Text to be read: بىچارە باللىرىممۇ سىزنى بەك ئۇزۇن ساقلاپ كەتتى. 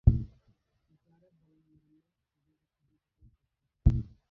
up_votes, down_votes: 0, 2